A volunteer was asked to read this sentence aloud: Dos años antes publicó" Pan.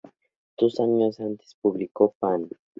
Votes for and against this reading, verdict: 4, 0, accepted